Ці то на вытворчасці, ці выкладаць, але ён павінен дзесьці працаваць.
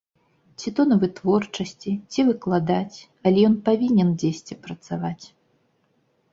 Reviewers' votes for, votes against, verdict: 2, 0, accepted